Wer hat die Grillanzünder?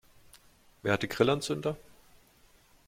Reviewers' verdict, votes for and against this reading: accepted, 2, 0